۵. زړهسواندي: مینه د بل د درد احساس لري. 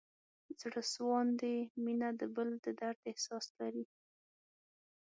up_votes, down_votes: 0, 2